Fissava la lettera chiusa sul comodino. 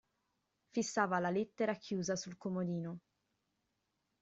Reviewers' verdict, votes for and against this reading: accepted, 2, 0